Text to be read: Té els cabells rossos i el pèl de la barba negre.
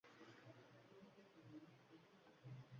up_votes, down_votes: 0, 2